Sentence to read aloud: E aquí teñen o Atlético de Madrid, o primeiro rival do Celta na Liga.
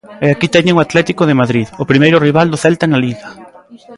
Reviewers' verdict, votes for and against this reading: accepted, 2, 0